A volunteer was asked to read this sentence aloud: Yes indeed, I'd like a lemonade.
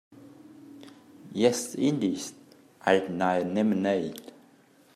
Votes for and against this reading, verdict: 1, 2, rejected